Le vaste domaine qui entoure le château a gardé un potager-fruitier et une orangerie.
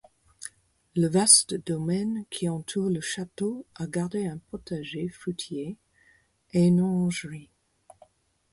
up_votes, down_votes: 4, 0